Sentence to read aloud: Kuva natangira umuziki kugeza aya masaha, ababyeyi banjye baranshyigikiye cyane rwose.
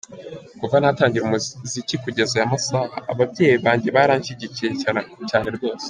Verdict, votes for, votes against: rejected, 1, 3